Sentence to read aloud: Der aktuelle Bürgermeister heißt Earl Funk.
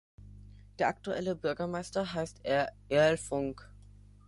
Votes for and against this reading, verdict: 0, 3, rejected